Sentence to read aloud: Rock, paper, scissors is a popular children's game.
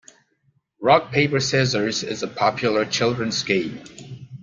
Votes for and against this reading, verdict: 2, 0, accepted